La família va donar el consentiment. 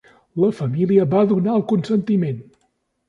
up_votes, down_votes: 3, 0